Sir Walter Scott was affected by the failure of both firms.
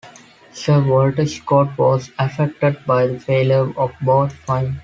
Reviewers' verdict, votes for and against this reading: rejected, 0, 2